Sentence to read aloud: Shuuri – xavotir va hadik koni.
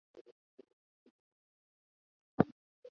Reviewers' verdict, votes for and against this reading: rejected, 0, 2